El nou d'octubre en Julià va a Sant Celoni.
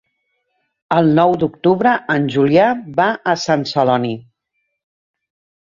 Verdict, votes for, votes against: accepted, 3, 0